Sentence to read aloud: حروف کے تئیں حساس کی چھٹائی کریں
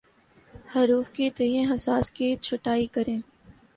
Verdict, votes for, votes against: accepted, 2, 0